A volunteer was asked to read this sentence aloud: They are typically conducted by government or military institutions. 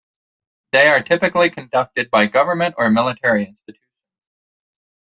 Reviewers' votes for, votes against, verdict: 1, 2, rejected